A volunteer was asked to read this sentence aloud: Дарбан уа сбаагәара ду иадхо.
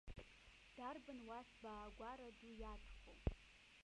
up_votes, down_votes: 2, 1